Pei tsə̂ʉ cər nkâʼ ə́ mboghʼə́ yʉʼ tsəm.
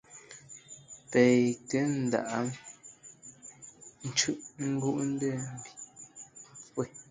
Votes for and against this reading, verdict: 0, 2, rejected